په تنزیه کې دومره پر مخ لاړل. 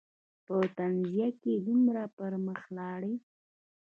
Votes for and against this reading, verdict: 2, 0, accepted